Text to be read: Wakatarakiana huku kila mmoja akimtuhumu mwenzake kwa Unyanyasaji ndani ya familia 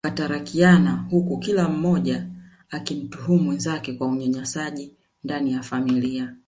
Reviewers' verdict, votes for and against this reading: rejected, 0, 2